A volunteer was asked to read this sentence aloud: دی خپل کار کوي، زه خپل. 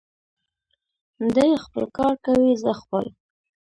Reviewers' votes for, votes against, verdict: 2, 0, accepted